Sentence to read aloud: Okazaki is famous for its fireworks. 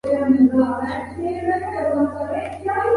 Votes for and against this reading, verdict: 0, 2, rejected